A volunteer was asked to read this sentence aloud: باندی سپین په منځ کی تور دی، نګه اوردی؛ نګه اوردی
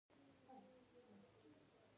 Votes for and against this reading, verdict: 2, 1, accepted